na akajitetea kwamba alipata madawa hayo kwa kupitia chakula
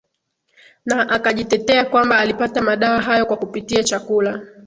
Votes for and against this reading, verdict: 3, 0, accepted